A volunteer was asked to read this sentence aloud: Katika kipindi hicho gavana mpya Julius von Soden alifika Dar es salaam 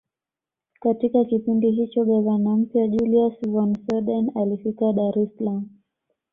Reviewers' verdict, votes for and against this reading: accepted, 2, 0